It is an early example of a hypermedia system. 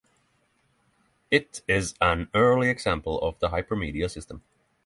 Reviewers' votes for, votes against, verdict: 6, 0, accepted